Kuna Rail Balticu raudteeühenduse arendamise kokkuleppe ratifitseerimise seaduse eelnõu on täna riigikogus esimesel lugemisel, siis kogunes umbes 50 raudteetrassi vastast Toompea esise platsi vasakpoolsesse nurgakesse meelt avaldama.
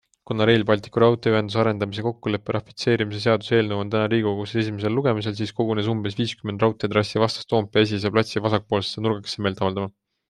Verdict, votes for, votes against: rejected, 0, 2